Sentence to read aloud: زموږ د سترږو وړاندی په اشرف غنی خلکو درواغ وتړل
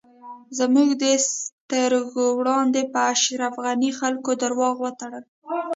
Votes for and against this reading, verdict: 1, 2, rejected